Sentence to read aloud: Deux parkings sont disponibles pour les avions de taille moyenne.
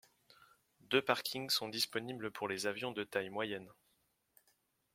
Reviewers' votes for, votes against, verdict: 2, 0, accepted